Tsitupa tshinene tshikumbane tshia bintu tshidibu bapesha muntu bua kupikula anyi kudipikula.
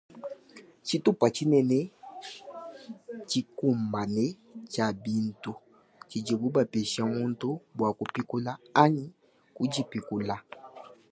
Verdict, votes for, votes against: accepted, 2, 0